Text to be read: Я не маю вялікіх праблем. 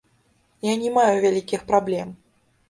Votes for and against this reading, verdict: 1, 2, rejected